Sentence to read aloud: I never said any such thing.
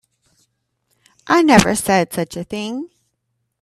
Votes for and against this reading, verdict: 1, 2, rejected